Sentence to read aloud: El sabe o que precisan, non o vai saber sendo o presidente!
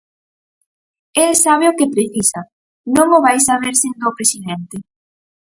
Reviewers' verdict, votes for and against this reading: rejected, 2, 4